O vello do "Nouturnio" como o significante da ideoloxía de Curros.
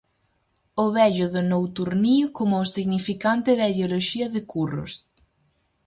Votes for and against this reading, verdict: 0, 4, rejected